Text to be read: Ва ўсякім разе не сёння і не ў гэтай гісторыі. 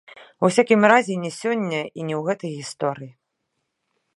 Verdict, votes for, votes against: rejected, 0, 2